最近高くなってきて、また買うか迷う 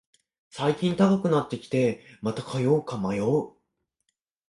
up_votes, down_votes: 0, 2